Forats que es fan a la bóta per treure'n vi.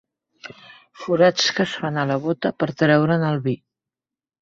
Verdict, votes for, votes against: rejected, 0, 2